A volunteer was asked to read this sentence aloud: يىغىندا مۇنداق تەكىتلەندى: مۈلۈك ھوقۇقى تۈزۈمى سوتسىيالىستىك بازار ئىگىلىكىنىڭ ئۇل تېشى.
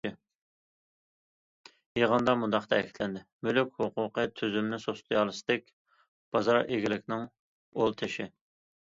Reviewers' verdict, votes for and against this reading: accepted, 2, 0